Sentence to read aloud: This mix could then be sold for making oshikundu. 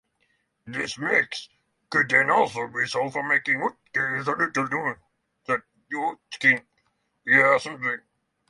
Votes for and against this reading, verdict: 0, 6, rejected